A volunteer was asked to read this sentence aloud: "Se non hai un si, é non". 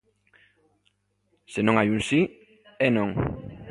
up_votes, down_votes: 2, 0